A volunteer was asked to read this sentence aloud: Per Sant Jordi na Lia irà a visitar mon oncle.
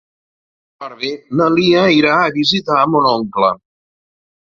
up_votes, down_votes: 0, 2